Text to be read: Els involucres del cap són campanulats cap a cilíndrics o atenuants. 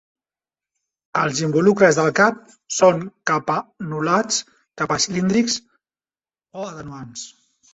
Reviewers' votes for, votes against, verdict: 0, 2, rejected